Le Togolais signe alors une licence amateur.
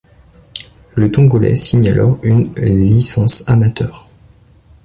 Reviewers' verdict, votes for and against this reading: rejected, 0, 2